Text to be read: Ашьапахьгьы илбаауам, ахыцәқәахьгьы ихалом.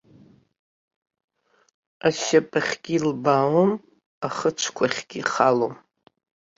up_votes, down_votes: 0, 2